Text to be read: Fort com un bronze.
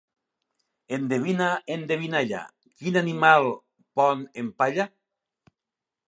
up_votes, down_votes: 0, 2